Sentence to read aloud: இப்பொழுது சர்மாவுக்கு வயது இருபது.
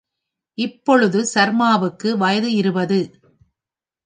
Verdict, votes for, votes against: rejected, 0, 2